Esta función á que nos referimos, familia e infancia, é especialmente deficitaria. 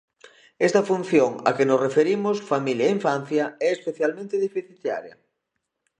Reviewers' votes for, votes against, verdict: 1, 2, rejected